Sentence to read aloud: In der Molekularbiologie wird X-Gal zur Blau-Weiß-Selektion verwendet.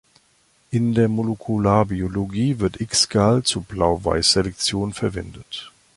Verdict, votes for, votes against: rejected, 1, 2